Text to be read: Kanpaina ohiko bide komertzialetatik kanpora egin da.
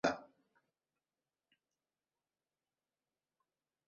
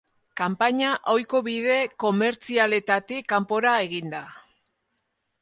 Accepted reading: second